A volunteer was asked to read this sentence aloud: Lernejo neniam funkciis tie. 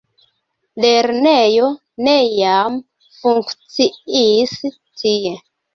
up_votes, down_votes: 1, 2